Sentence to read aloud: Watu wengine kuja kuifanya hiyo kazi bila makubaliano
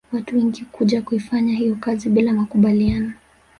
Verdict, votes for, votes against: accepted, 6, 0